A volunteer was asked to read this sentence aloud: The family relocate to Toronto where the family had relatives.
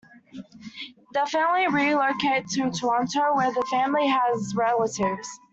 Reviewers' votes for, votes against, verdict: 1, 2, rejected